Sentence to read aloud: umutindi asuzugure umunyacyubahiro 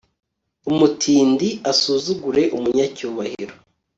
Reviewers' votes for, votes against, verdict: 2, 0, accepted